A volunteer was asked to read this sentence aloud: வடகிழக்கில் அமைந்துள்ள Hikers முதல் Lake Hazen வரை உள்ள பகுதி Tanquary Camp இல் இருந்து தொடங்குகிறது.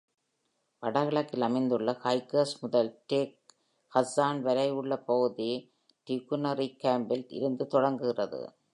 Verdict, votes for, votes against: rejected, 0, 2